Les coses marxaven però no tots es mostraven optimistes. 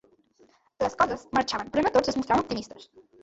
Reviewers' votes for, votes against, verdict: 1, 2, rejected